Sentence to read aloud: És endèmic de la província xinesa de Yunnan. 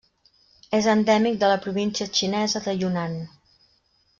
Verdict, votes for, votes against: rejected, 1, 2